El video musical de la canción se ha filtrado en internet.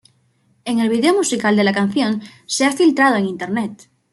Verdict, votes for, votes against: rejected, 1, 2